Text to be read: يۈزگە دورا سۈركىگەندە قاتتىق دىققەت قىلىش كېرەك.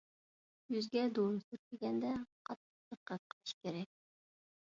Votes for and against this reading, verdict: 0, 2, rejected